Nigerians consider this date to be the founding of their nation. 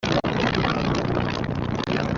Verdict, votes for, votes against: rejected, 0, 2